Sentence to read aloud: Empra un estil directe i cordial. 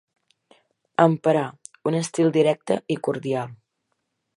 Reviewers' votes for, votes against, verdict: 0, 2, rejected